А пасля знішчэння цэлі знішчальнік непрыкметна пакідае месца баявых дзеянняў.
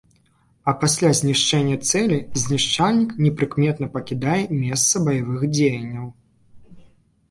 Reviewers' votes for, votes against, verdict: 2, 0, accepted